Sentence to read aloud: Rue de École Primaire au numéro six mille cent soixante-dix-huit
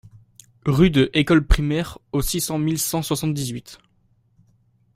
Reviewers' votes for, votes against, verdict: 0, 2, rejected